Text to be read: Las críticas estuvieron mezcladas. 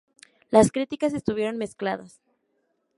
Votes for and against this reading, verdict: 4, 0, accepted